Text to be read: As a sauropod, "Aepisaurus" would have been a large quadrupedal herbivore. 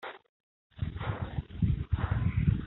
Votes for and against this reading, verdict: 0, 2, rejected